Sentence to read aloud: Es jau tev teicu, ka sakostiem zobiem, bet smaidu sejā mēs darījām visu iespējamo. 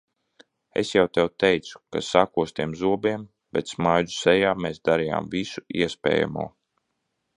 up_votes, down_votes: 2, 0